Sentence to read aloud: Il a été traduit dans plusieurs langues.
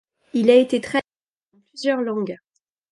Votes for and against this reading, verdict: 0, 2, rejected